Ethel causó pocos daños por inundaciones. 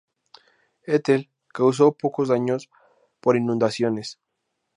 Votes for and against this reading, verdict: 0, 2, rejected